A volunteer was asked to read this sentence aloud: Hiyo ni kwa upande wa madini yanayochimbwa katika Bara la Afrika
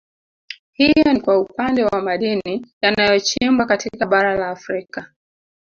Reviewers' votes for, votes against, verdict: 0, 2, rejected